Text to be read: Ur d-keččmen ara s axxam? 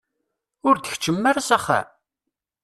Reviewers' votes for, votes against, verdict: 0, 2, rejected